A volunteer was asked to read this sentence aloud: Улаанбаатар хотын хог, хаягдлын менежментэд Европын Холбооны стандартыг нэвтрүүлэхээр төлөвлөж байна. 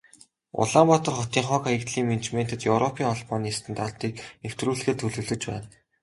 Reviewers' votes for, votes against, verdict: 2, 0, accepted